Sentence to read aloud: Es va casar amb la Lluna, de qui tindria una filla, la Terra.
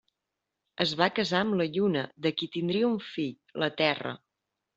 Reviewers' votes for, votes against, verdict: 1, 2, rejected